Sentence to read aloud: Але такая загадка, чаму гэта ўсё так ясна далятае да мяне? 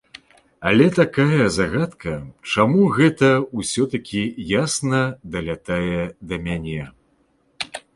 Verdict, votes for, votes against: rejected, 1, 2